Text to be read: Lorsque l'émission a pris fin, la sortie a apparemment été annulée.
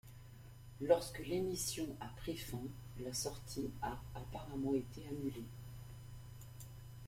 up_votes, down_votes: 2, 0